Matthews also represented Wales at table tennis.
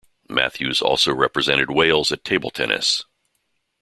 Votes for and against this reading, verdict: 2, 0, accepted